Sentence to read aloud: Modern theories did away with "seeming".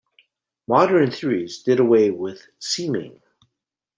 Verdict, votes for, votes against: accepted, 2, 1